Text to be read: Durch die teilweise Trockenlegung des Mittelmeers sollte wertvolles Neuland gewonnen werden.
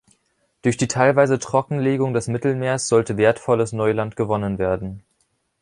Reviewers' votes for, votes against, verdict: 2, 0, accepted